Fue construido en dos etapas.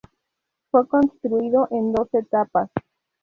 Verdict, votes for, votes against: accepted, 2, 0